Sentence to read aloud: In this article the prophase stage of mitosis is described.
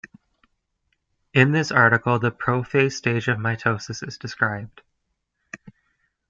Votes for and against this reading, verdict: 2, 0, accepted